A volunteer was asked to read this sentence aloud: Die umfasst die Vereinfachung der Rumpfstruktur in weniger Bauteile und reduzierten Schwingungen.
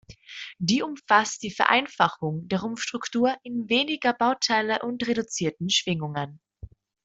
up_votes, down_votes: 2, 0